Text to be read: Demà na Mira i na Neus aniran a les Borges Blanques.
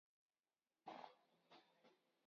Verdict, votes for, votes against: rejected, 0, 4